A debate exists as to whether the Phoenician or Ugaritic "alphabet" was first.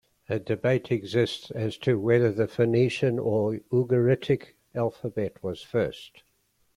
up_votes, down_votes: 2, 0